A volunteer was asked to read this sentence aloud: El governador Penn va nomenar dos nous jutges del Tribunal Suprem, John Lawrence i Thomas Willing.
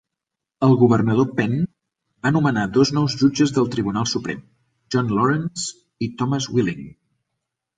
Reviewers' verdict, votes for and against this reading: accepted, 2, 0